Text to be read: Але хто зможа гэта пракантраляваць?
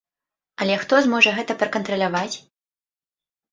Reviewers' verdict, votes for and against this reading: accepted, 2, 0